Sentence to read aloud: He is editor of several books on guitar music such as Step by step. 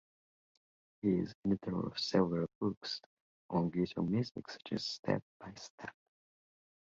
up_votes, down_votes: 0, 2